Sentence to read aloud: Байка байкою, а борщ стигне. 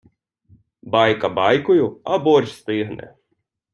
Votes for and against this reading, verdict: 2, 0, accepted